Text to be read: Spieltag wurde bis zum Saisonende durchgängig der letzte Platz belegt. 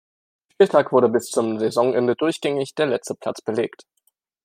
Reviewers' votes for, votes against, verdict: 1, 2, rejected